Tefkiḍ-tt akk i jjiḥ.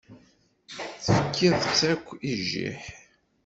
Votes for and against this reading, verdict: 1, 2, rejected